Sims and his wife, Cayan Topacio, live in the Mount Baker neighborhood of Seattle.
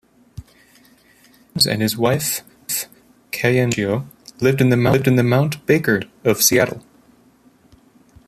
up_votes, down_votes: 0, 2